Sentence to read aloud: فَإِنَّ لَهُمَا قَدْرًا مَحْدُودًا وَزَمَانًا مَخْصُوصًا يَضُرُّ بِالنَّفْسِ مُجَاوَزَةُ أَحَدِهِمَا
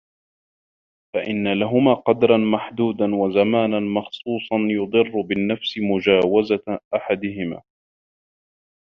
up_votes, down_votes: 1, 2